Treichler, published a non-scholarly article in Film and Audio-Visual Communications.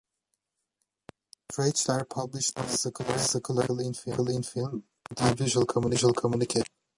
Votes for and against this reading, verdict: 0, 2, rejected